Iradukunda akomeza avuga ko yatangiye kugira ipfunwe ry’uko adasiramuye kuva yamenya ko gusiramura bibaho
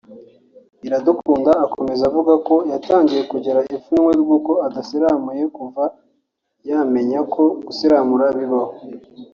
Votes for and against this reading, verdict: 4, 0, accepted